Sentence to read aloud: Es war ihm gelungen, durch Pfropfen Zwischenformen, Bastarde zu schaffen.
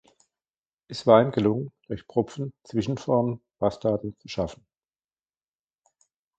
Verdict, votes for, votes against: rejected, 1, 2